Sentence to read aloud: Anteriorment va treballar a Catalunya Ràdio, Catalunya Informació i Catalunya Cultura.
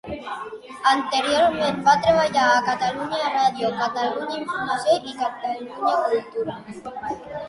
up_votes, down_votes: 0, 2